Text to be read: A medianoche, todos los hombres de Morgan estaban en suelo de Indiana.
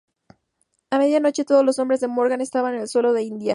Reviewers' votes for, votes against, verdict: 0, 2, rejected